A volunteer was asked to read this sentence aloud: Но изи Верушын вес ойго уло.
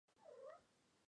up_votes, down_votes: 2, 5